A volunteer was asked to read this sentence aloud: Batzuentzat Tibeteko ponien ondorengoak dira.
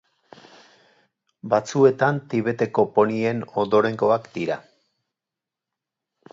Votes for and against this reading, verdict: 2, 4, rejected